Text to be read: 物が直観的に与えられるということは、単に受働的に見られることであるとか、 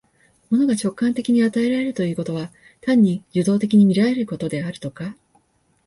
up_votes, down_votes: 2, 0